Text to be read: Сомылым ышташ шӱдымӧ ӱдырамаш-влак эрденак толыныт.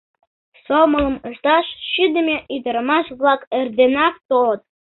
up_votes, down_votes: 0, 2